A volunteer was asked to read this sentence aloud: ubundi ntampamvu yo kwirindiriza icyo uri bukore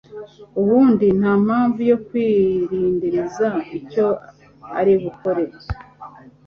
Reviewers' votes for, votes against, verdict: 2, 1, accepted